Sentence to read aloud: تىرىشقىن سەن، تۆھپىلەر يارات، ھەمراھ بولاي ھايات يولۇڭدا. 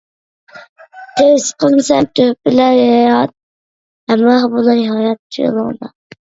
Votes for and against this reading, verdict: 0, 2, rejected